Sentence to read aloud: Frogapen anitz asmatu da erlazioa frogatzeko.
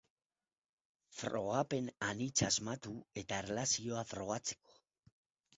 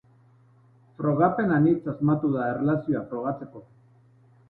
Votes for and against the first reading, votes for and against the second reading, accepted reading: 0, 4, 8, 0, second